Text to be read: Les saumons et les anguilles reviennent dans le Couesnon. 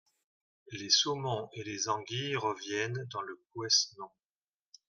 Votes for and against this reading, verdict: 1, 2, rejected